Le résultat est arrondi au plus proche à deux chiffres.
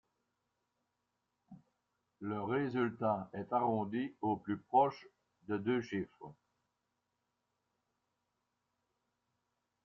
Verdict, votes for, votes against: rejected, 0, 2